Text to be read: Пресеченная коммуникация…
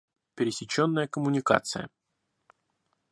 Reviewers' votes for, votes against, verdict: 0, 2, rejected